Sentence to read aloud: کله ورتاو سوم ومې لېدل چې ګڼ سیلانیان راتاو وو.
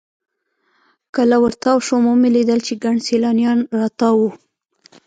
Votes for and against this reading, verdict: 1, 2, rejected